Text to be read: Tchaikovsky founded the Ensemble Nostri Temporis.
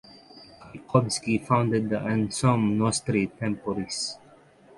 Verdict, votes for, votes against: rejected, 6, 6